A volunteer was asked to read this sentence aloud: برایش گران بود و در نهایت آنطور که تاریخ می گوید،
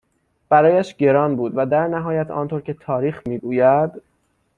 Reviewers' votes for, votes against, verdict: 6, 0, accepted